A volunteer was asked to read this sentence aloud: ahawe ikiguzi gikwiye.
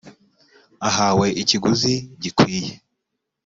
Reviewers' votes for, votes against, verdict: 3, 0, accepted